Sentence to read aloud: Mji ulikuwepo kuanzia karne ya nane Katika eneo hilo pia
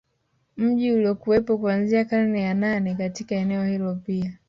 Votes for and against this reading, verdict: 1, 2, rejected